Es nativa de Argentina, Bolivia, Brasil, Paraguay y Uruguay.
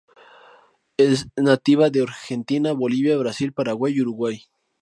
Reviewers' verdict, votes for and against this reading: accepted, 2, 0